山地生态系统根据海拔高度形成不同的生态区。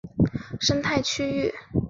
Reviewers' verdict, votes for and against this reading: rejected, 0, 2